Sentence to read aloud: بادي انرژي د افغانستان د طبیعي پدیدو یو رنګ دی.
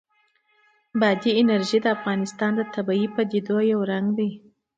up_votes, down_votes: 2, 1